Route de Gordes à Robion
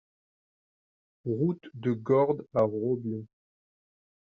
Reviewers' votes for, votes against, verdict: 1, 2, rejected